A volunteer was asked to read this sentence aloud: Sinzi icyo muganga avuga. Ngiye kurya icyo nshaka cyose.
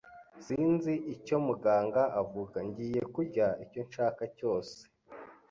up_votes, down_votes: 3, 0